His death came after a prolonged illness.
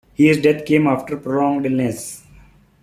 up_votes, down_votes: 2, 0